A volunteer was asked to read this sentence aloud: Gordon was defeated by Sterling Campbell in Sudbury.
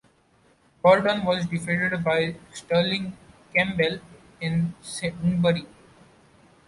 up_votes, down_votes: 0, 2